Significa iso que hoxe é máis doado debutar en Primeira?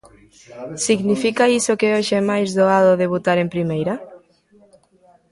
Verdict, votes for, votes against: rejected, 1, 2